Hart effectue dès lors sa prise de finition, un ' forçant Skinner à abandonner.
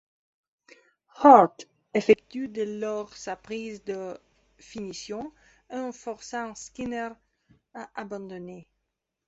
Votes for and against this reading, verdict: 2, 0, accepted